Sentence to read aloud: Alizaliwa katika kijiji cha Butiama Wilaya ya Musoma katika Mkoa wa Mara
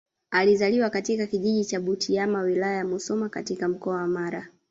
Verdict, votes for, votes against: rejected, 1, 2